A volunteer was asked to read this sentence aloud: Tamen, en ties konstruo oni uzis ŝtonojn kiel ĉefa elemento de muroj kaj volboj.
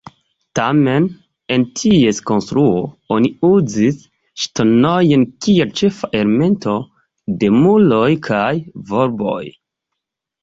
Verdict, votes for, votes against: rejected, 1, 2